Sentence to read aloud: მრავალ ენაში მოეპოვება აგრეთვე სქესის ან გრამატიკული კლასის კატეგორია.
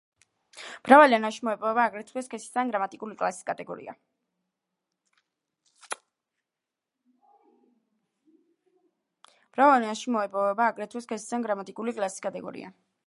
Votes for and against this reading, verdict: 2, 3, rejected